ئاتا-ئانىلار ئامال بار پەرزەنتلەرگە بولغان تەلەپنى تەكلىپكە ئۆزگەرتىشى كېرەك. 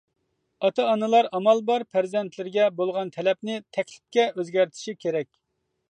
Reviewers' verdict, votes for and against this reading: rejected, 0, 2